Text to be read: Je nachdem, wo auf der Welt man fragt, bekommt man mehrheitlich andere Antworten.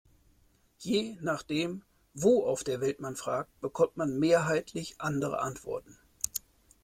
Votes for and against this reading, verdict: 2, 0, accepted